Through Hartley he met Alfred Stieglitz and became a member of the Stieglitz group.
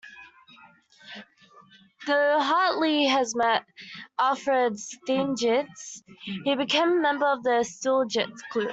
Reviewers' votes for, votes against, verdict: 0, 2, rejected